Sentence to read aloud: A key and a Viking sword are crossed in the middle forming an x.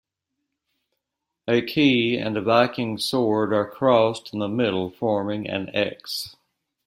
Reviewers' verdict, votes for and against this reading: accepted, 2, 1